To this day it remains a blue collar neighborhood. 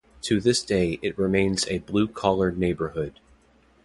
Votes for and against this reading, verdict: 2, 0, accepted